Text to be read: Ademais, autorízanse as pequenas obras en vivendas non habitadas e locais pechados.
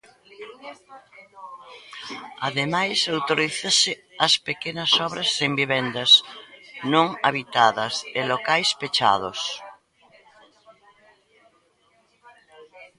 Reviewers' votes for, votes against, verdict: 0, 2, rejected